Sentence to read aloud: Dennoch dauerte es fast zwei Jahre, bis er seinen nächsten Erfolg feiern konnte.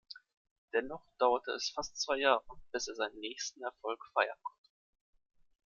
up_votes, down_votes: 1, 2